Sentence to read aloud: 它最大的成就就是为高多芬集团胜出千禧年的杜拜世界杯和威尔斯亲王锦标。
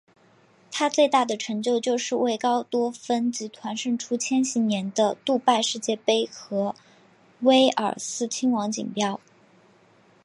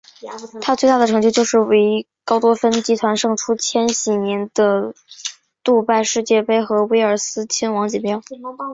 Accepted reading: first